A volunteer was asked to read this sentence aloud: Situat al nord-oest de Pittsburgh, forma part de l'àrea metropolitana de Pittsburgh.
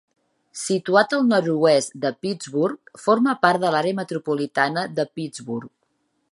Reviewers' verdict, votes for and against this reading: accepted, 3, 0